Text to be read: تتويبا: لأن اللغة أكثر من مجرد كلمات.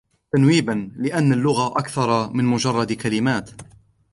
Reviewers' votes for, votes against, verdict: 1, 2, rejected